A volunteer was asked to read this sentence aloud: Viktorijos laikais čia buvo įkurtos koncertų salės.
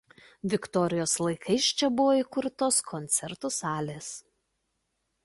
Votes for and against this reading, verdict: 2, 0, accepted